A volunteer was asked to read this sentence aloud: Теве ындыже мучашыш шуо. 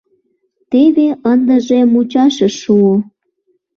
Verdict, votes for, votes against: accepted, 2, 0